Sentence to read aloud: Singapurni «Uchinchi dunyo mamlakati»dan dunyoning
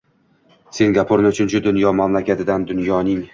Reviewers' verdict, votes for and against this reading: rejected, 1, 2